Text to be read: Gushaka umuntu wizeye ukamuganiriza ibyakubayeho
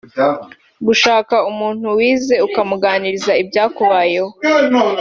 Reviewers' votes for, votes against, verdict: 2, 0, accepted